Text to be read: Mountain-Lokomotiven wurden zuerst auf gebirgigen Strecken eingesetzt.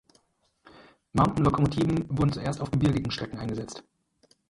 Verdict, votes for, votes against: rejected, 2, 4